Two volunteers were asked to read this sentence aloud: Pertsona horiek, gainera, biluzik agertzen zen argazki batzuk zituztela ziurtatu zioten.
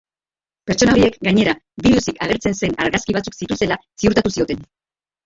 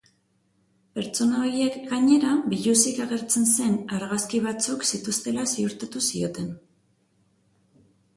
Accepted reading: second